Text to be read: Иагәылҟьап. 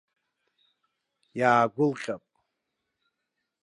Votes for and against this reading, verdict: 1, 2, rejected